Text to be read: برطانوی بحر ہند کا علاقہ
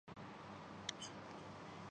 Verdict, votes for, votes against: rejected, 0, 3